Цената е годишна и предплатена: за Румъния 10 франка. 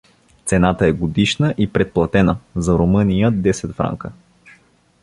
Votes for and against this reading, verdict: 0, 2, rejected